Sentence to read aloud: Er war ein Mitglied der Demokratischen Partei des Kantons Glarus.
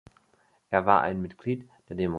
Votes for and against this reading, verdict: 0, 2, rejected